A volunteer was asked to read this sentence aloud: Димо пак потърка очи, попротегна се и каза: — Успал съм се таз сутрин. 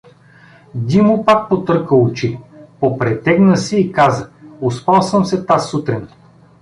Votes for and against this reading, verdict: 1, 2, rejected